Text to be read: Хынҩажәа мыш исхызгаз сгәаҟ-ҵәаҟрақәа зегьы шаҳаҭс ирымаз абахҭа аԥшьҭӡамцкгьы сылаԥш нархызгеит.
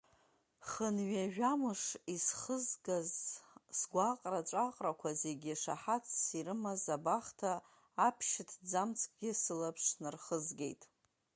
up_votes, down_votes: 0, 2